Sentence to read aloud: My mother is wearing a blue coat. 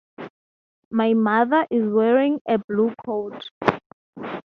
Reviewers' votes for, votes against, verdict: 6, 0, accepted